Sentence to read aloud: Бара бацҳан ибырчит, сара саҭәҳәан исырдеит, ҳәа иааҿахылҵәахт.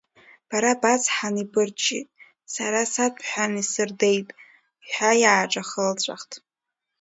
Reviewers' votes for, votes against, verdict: 2, 1, accepted